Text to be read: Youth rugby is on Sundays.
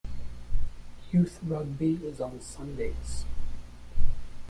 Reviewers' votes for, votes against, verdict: 0, 2, rejected